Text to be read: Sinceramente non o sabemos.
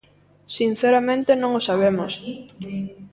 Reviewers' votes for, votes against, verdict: 1, 2, rejected